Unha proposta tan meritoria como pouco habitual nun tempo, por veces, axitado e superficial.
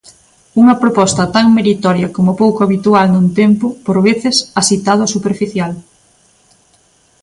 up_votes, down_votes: 2, 0